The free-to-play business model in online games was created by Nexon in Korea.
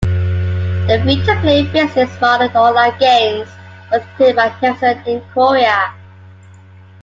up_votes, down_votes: 2, 1